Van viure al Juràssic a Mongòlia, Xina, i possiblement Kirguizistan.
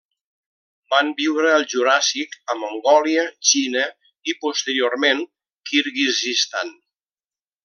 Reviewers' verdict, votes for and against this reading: rejected, 0, 2